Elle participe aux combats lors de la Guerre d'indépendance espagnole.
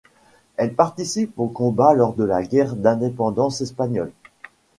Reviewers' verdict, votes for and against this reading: accepted, 2, 0